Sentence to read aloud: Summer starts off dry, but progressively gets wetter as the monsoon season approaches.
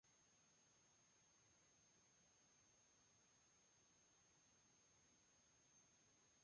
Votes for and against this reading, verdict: 0, 2, rejected